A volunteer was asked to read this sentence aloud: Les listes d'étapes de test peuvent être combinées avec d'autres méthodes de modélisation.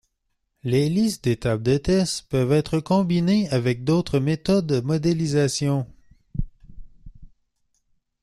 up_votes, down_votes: 1, 2